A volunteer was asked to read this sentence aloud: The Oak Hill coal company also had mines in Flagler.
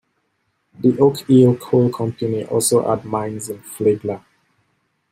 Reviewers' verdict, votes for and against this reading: accepted, 2, 1